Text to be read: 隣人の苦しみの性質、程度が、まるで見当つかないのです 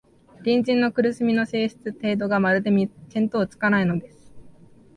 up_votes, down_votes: 0, 2